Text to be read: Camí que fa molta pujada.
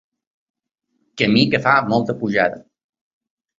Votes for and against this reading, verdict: 4, 0, accepted